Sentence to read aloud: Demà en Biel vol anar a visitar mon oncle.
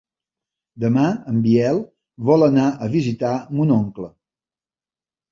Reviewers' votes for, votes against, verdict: 3, 0, accepted